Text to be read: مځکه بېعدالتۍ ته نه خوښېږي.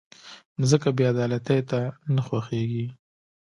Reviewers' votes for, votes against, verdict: 2, 0, accepted